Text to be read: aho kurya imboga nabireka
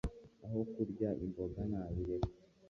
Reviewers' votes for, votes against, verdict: 1, 2, rejected